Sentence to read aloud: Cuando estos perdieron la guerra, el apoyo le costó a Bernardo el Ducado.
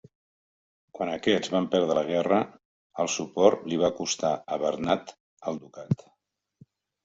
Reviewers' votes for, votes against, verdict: 0, 2, rejected